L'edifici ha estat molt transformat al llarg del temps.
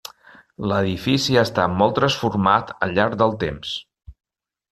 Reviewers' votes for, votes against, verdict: 2, 0, accepted